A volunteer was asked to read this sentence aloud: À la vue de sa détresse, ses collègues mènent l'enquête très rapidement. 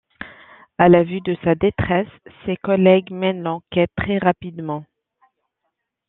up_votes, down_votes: 2, 0